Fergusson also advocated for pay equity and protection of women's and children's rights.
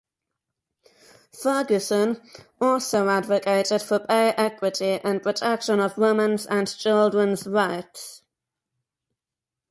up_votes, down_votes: 4, 2